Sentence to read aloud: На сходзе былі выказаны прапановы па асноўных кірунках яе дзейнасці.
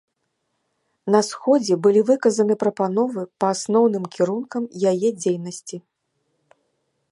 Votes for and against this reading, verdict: 1, 2, rejected